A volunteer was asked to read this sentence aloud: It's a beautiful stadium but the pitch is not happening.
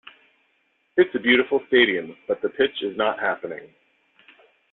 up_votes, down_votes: 2, 0